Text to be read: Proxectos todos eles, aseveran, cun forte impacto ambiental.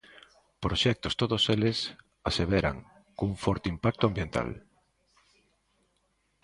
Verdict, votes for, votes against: accepted, 2, 0